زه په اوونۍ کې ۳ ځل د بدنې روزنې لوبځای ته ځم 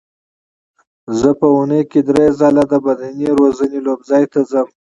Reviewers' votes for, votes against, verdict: 0, 2, rejected